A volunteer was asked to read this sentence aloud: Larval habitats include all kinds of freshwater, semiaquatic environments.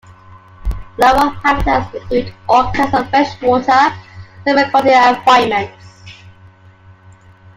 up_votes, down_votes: 1, 2